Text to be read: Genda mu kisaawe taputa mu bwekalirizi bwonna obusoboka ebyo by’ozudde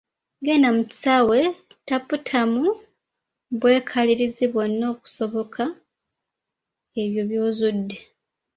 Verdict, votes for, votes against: rejected, 0, 2